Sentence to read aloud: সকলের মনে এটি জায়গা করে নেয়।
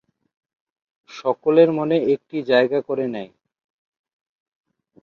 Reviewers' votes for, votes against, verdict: 0, 2, rejected